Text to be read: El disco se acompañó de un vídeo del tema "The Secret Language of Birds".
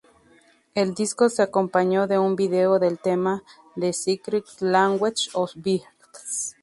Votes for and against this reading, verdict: 0, 2, rejected